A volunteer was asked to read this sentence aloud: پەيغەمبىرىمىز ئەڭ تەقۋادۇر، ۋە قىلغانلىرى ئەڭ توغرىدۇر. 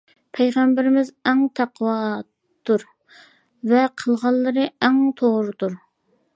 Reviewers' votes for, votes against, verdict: 2, 0, accepted